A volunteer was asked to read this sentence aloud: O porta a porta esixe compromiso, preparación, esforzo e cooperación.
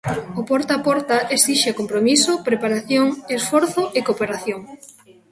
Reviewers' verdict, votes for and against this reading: accepted, 2, 0